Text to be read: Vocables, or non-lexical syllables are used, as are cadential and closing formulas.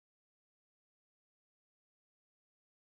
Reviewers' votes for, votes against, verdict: 0, 2, rejected